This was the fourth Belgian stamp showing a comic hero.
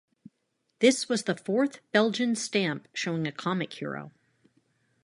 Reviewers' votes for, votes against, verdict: 2, 0, accepted